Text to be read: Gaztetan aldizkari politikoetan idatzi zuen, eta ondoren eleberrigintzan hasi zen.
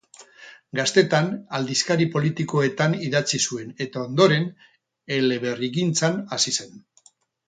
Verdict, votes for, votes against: rejected, 0, 2